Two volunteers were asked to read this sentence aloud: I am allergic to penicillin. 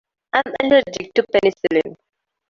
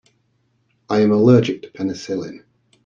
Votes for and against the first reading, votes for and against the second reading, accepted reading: 0, 2, 2, 0, second